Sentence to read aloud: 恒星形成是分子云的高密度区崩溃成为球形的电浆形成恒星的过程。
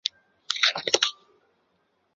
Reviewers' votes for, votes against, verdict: 0, 2, rejected